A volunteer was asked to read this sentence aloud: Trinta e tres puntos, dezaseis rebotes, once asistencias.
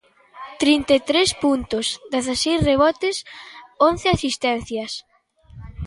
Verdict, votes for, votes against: rejected, 1, 2